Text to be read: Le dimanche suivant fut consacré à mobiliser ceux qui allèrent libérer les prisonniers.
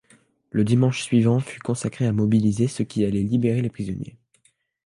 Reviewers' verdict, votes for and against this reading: rejected, 0, 2